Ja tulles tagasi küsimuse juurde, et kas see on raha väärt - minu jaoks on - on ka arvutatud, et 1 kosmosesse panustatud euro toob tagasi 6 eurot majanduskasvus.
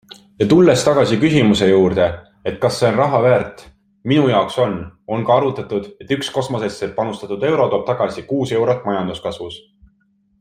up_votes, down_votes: 0, 2